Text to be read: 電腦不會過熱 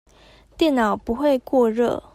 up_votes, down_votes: 2, 0